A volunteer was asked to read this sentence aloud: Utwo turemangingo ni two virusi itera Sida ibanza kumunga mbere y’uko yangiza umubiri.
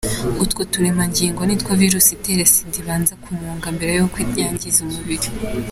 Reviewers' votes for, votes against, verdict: 2, 0, accepted